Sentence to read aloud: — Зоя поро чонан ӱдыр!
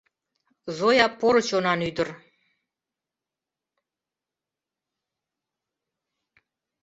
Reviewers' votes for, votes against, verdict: 2, 0, accepted